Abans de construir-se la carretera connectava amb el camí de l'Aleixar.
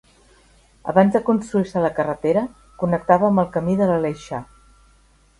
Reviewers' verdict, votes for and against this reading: accepted, 3, 0